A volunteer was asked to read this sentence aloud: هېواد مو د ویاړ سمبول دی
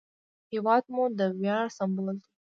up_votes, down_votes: 2, 1